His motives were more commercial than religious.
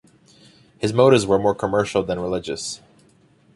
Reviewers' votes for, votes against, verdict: 2, 0, accepted